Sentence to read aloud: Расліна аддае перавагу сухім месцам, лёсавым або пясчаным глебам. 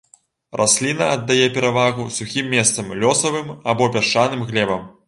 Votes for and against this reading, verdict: 2, 0, accepted